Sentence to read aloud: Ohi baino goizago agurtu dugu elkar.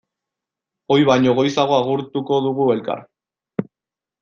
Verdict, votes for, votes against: rejected, 0, 2